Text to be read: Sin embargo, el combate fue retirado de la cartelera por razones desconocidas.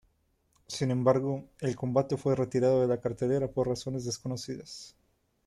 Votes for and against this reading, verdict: 2, 0, accepted